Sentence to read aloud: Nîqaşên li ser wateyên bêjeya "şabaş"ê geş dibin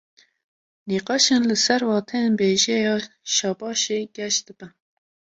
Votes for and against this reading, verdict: 2, 0, accepted